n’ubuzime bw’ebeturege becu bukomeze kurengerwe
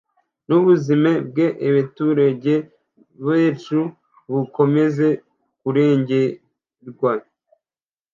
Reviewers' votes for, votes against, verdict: 0, 2, rejected